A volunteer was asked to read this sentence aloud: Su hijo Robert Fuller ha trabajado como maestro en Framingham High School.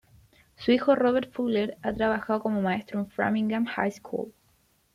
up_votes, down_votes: 2, 0